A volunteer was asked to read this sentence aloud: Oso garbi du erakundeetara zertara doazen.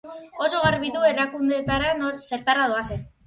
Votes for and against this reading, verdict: 6, 0, accepted